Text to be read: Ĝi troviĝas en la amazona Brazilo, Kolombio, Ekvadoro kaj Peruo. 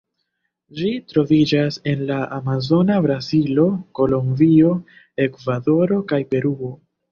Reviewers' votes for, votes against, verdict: 2, 1, accepted